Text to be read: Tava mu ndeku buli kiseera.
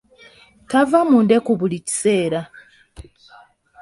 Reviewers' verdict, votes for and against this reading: accepted, 2, 1